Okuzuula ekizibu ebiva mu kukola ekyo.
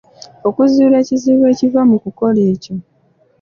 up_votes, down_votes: 2, 0